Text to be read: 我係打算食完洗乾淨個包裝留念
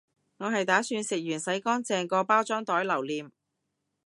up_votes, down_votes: 0, 2